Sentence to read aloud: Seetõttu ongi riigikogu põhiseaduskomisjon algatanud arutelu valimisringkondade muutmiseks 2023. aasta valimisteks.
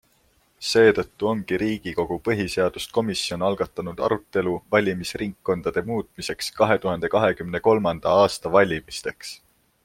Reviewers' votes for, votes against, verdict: 0, 2, rejected